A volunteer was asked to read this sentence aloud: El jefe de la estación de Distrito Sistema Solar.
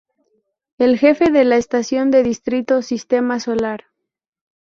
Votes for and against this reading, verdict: 4, 0, accepted